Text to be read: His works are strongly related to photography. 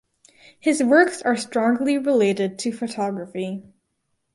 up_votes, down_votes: 4, 0